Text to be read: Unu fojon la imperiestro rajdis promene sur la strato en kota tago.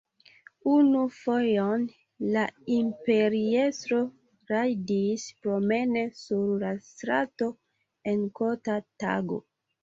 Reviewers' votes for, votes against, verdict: 2, 0, accepted